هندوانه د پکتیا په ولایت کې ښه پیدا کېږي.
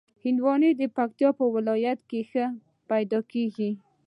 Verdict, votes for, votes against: accepted, 2, 0